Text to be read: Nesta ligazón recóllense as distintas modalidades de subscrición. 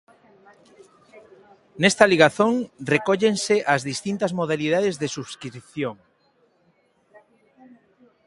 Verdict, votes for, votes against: accepted, 2, 0